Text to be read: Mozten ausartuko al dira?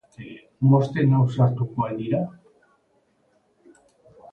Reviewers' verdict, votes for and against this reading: rejected, 0, 2